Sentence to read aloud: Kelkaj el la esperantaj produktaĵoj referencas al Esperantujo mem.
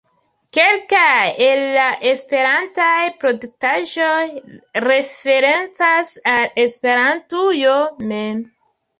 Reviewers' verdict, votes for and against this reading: accepted, 2, 1